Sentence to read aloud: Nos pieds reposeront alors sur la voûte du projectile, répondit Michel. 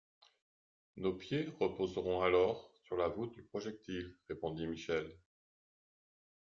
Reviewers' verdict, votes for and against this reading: accepted, 2, 1